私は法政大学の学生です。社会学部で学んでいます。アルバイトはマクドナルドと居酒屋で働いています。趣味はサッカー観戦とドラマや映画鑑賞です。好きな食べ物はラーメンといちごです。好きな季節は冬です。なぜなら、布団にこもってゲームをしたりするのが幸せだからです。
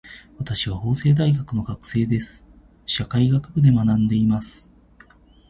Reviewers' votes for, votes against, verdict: 0, 3, rejected